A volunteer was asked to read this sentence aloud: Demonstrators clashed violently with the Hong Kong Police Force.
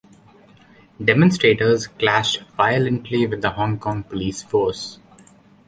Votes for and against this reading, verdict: 2, 0, accepted